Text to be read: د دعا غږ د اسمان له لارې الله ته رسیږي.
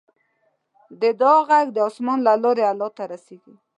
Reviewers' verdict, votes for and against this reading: accepted, 2, 0